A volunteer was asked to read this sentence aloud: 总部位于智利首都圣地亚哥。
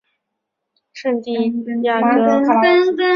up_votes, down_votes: 0, 2